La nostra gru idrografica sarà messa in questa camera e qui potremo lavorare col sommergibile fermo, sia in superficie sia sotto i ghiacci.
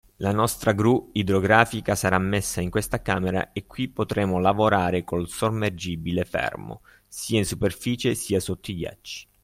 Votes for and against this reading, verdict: 2, 0, accepted